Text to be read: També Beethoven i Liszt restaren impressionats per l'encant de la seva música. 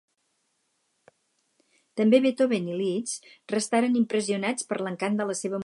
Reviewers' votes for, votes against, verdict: 2, 4, rejected